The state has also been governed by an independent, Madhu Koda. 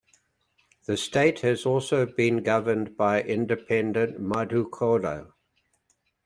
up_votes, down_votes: 0, 2